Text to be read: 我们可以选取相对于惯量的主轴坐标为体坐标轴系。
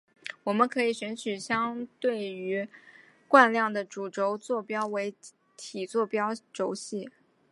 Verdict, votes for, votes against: accepted, 2, 0